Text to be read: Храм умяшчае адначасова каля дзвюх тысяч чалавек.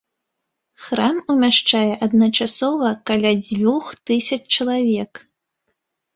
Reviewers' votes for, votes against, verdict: 2, 0, accepted